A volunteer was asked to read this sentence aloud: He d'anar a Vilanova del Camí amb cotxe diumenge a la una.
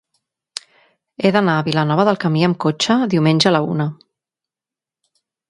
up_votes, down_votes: 3, 0